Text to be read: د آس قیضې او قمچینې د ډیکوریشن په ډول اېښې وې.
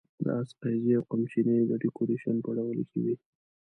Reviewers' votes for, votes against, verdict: 0, 2, rejected